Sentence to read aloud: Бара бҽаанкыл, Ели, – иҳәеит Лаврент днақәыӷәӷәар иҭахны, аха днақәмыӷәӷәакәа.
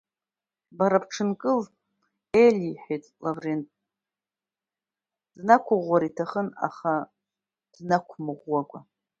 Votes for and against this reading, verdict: 0, 2, rejected